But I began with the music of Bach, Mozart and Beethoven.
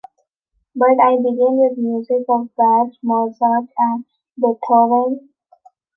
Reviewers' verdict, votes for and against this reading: rejected, 1, 2